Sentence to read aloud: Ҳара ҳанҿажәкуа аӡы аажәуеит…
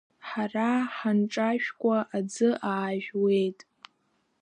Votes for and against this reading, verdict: 1, 2, rejected